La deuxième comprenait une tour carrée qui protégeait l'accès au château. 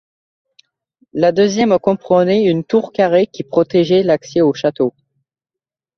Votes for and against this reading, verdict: 2, 0, accepted